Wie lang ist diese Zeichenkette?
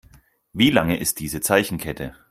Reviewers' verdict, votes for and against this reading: rejected, 2, 4